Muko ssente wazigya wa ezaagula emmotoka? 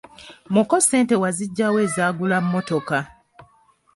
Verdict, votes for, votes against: rejected, 0, 2